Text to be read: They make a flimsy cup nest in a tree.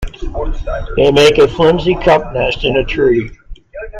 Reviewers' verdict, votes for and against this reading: accepted, 2, 1